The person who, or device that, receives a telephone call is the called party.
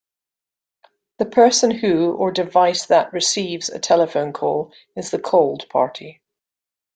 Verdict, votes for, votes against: accepted, 2, 0